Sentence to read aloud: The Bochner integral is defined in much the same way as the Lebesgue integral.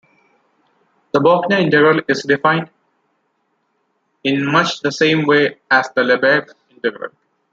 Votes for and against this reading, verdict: 1, 2, rejected